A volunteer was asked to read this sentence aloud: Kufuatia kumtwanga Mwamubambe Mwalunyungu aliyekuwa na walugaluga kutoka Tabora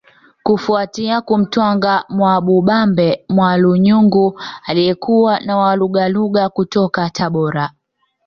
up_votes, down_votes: 2, 1